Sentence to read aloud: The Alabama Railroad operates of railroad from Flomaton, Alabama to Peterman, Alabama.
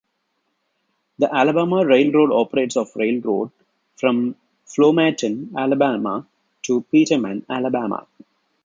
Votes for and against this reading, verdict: 2, 0, accepted